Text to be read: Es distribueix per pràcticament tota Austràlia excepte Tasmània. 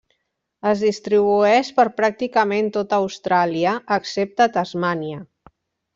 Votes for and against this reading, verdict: 3, 1, accepted